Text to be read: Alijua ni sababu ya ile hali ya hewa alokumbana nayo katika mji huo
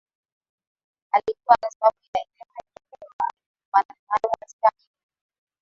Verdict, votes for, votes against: rejected, 3, 5